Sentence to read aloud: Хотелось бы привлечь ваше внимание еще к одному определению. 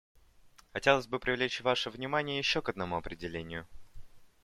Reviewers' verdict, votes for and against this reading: accepted, 2, 0